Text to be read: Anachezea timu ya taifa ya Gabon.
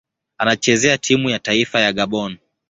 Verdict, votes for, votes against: accepted, 8, 1